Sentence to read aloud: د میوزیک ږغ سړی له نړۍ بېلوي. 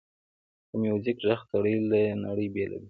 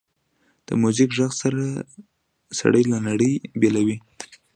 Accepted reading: first